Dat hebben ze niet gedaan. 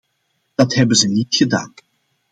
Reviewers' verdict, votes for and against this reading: accepted, 2, 0